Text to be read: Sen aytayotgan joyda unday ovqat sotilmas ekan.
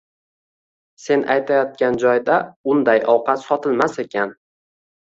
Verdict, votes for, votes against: accepted, 2, 0